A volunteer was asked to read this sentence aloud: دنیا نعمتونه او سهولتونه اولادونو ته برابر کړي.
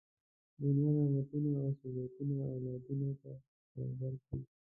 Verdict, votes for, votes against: rejected, 1, 2